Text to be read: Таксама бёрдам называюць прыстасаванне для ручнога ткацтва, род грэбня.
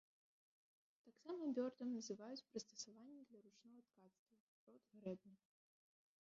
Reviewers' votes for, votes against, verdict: 0, 2, rejected